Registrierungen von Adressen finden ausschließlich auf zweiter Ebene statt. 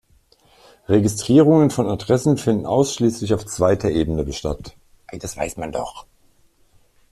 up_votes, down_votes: 0, 2